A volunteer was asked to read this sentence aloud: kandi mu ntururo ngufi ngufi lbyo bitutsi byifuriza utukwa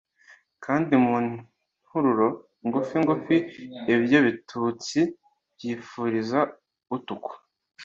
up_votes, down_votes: 2, 0